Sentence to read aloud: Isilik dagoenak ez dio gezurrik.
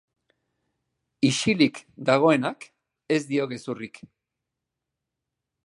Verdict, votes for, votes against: accepted, 3, 0